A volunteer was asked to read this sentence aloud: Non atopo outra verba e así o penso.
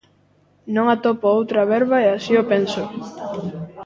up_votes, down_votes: 1, 2